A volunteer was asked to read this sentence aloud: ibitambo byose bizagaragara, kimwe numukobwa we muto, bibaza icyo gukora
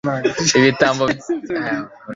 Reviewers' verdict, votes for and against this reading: rejected, 0, 2